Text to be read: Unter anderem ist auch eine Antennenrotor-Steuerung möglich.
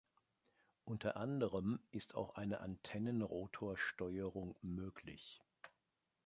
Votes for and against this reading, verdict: 2, 0, accepted